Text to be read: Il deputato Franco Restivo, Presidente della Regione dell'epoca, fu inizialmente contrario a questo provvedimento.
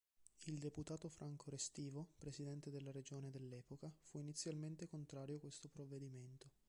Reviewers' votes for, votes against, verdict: 3, 4, rejected